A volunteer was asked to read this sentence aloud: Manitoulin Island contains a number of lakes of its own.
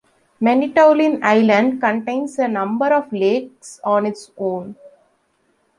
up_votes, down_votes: 0, 2